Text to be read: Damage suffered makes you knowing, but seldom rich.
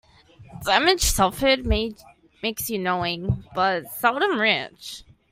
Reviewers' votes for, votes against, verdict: 1, 2, rejected